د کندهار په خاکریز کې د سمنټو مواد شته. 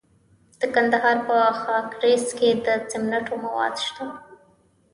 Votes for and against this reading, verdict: 1, 2, rejected